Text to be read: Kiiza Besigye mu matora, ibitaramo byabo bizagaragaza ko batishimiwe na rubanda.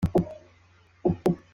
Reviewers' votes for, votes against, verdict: 0, 2, rejected